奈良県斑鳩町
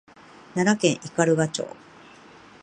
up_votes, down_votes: 2, 0